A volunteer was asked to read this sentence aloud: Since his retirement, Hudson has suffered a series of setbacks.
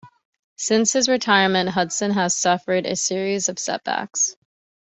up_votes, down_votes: 2, 0